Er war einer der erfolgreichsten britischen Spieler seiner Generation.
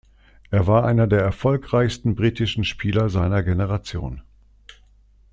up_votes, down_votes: 2, 0